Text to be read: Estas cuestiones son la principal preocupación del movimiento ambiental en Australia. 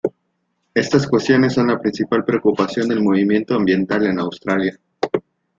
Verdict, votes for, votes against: accepted, 2, 1